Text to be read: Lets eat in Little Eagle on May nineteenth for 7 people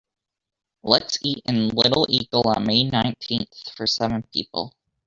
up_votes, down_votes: 0, 2